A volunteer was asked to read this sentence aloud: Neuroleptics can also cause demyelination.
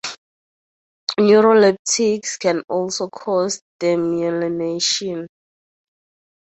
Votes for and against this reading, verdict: 0, 2, rejected